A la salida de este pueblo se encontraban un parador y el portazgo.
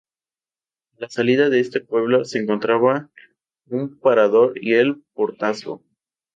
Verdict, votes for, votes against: rejected, 0, 2